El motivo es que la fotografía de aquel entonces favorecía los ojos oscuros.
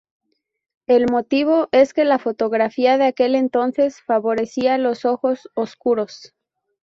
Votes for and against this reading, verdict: 0, 2, rejected